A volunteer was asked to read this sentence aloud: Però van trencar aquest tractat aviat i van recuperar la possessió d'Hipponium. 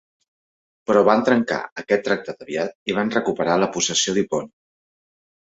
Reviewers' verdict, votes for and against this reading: rejected, 0, 2